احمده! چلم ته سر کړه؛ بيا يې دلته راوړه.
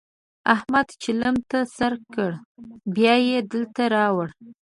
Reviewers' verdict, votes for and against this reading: rejected, 0, 2